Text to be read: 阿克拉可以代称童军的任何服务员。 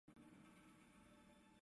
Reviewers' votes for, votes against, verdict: 0, 5, rejected